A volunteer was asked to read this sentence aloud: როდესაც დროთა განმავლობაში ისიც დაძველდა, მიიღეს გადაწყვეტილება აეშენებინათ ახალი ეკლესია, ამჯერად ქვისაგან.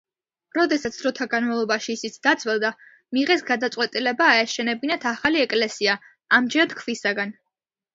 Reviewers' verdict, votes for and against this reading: accepted, 2, 0